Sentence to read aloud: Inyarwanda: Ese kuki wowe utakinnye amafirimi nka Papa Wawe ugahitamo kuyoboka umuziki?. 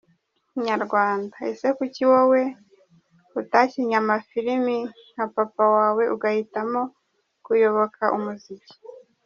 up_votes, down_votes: 2, 0